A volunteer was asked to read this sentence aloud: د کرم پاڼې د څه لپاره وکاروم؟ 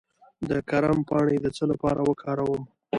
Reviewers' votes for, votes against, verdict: 2, 0, accepted